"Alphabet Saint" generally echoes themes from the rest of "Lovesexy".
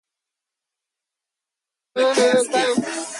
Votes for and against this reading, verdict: 0, 2, rejected